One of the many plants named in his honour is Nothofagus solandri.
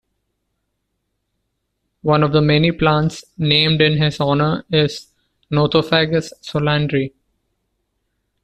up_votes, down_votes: 2, 0